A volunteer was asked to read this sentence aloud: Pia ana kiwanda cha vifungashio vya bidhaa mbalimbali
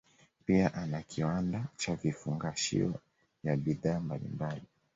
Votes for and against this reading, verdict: 2, 0, accepted